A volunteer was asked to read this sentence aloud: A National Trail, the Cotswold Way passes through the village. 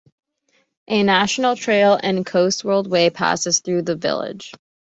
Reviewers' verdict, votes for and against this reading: rejected, 1, 2